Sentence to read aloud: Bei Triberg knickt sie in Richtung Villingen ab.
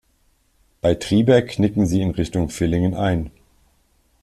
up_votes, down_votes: 1, 2